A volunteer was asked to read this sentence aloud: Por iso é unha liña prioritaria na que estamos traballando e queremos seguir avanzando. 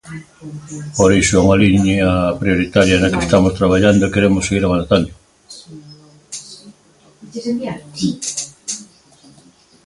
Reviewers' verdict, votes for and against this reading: rejected, 0, 2